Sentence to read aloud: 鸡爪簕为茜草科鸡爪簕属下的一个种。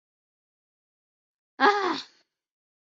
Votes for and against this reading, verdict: 0, 2, rejected